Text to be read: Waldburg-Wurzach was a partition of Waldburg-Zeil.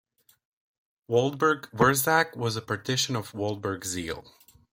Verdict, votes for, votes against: accepted, 2, 1